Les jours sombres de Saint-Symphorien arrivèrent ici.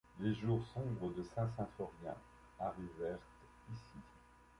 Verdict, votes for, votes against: rejected, 0, 2